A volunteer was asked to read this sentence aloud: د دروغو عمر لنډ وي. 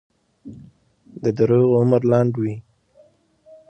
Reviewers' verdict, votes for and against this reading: accepted, 2, 0